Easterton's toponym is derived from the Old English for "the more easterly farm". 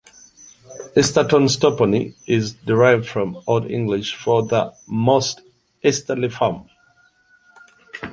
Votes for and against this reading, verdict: 1, 3, rejected